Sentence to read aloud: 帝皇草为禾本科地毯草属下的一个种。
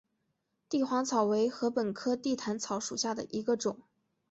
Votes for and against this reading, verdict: 4, 0, accepted